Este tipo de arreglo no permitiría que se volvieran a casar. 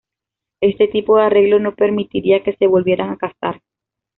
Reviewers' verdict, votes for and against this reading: accepted, 2, 0